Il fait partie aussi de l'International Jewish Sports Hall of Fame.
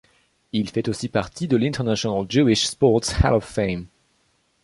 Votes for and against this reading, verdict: 0, 2, rejected